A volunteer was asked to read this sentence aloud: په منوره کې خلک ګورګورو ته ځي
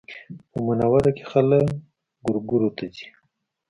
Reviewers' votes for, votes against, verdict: 2, 0, accepted